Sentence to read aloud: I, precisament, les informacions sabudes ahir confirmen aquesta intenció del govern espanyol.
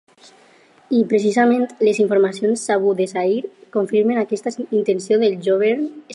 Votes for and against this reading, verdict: 0, 2, rejected